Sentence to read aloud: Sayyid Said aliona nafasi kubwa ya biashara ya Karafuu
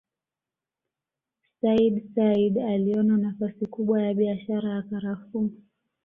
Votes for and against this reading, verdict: 2, 0, accepted